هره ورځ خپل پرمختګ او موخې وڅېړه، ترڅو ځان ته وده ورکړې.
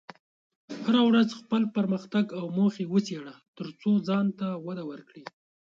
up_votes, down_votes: 2, 1